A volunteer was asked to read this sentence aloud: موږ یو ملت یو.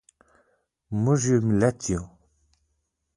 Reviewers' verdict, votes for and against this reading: accepted, 2, 0